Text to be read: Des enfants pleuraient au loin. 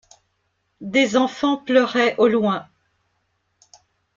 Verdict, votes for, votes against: accepted, 2, 0